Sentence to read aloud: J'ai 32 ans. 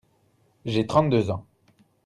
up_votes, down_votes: 0, 2